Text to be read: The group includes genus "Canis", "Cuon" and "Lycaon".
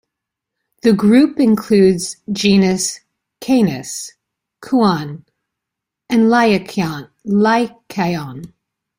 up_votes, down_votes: 1, 2